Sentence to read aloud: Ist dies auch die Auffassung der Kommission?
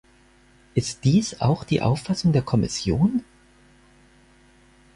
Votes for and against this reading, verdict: 4, 0, accepted